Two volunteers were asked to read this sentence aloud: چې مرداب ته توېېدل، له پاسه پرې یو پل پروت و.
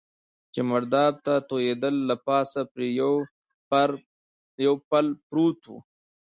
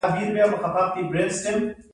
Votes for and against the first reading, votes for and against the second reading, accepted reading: 2, 1, 1, 2, first